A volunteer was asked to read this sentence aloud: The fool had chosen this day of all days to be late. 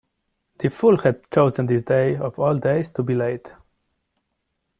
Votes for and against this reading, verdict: 2, 0, accepted